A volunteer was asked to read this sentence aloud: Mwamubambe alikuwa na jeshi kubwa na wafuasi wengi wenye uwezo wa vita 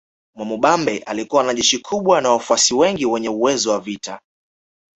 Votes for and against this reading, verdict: 2, 0, accepted